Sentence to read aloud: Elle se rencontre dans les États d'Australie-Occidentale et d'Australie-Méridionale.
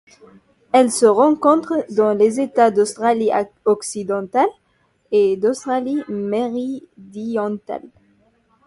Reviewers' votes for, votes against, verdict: 0, 2, rejected